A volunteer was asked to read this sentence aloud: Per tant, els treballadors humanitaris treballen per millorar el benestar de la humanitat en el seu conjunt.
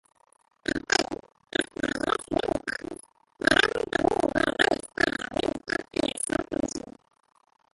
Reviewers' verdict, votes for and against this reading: rejected, 0, 2